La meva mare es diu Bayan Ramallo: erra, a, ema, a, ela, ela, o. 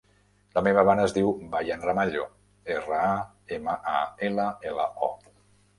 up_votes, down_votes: 3, 0